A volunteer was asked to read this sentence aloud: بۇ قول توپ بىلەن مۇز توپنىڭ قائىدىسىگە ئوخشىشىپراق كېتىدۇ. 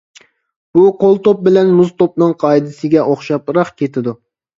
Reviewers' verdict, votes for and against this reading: rejected, 1, 2